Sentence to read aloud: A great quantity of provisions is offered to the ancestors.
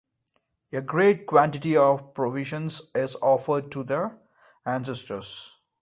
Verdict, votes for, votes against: accepted, 2, 0